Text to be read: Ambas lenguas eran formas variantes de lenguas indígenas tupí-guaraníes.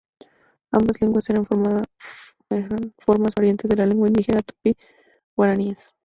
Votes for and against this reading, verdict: 0, 2, rejected